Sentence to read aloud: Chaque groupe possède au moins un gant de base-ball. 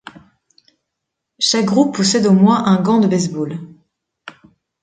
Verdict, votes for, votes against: accepted, 2, 0